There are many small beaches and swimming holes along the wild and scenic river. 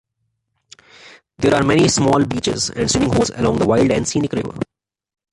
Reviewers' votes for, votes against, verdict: 1, 2, rejected